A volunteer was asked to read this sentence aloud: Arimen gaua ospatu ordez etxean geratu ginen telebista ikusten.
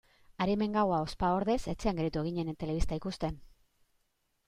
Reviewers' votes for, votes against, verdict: 0, 2, rejected